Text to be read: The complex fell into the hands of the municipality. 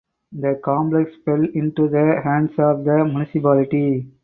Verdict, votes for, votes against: accepted, 4, 0